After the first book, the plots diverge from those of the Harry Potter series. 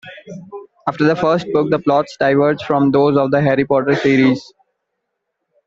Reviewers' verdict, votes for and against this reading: accepted, 2, 0